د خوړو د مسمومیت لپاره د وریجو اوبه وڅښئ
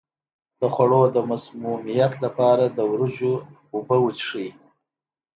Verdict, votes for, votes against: accepted, 2, 0